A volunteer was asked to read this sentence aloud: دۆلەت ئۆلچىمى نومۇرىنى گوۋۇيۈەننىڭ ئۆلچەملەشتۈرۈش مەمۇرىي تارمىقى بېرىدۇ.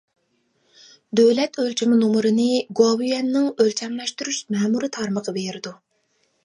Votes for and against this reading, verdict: 2, 1, accepted